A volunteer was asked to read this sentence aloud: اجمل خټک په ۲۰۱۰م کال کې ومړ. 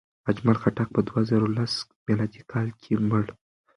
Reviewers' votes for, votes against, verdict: 0, 2, rejected